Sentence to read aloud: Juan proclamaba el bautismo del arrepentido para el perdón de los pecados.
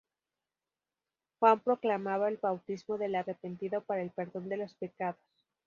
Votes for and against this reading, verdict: 2, 2, rejected